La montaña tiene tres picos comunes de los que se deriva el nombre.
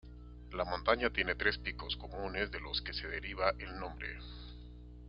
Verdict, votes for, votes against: accepted, 2, 0